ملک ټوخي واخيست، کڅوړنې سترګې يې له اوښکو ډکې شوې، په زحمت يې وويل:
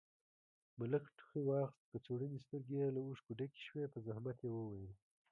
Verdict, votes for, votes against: accepted, 2, 0